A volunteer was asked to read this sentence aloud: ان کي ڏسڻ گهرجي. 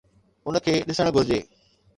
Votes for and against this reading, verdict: 2, 0, accepted